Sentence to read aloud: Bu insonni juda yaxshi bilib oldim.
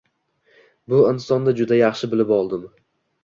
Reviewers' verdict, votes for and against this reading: accepted, 2, 0